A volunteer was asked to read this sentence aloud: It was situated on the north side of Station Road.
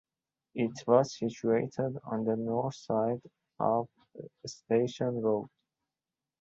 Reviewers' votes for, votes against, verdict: 2, 0, accepted